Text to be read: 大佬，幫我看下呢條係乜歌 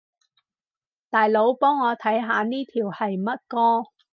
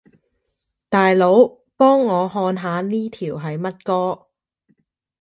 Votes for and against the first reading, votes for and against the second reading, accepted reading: 2, 2, 2, 0, second